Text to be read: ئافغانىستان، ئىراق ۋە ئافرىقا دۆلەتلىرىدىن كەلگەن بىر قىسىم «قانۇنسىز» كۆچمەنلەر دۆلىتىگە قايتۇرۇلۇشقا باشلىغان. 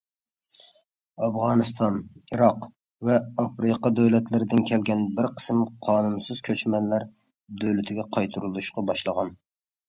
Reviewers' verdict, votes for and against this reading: accepted, 2, 0